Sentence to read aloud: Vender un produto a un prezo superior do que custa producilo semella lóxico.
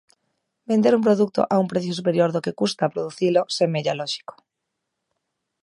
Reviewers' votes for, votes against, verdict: 0, 2, rejected